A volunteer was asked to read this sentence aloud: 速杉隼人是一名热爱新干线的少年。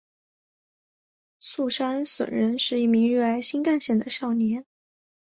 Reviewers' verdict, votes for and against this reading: accepted, 2, 0